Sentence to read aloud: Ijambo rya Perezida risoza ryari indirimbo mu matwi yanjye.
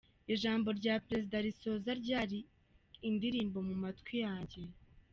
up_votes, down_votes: 2, 0